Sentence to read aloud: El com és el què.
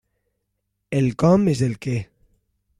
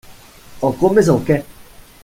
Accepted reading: first